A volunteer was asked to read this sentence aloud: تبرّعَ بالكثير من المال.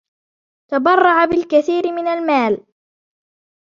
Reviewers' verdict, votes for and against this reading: accepted, 2, 0